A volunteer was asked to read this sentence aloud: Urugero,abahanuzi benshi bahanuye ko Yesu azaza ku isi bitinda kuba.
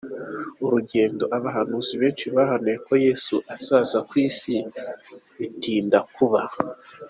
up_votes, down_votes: 1, 2